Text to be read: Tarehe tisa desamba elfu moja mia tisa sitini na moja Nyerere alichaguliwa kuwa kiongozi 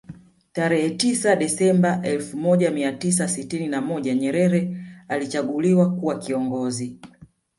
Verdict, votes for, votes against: rejected, 2, 3